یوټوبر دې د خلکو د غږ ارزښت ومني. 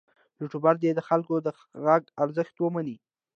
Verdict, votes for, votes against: accepted, 2, 0